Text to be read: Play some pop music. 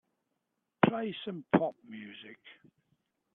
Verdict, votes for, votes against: accepted, 2, 0